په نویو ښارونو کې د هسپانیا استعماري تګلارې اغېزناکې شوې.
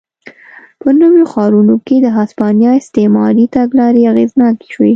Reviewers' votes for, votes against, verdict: 2, 0, accepted